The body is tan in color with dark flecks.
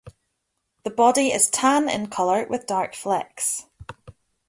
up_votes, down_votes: 2, 0